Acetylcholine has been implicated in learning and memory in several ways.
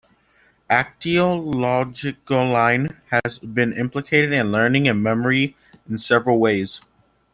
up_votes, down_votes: 0, 2